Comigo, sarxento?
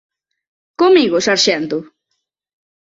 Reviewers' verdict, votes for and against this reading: accepted, 3, 0